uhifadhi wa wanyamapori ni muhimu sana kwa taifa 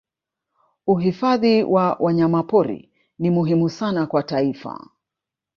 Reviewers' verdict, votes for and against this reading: rejected, 0, 2